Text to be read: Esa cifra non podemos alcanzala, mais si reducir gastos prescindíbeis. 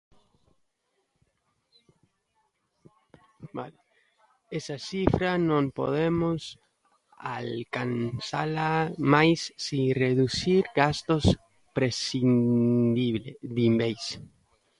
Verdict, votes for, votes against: rejected, 0, 2